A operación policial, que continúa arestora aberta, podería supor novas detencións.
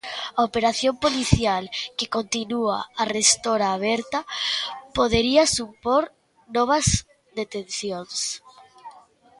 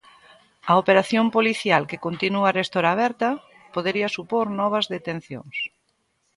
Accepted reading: second